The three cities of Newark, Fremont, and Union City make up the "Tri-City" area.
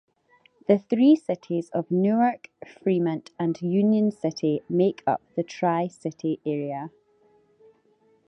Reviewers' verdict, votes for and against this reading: accepted, 2, 1